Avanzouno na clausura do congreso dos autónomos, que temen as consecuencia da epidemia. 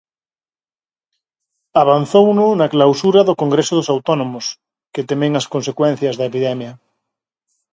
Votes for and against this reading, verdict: 2, 2, rejected